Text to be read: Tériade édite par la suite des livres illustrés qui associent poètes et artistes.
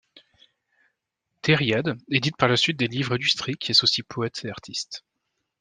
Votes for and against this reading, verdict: 2, 1, accepted